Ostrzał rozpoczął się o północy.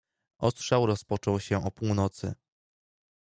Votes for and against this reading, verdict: 2, 0, accepted